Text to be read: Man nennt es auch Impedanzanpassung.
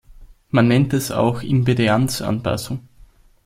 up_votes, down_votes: 0, 2